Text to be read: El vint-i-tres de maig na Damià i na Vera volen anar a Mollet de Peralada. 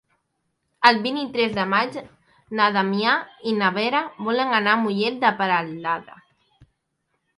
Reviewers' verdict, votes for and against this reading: rejected, 1, 2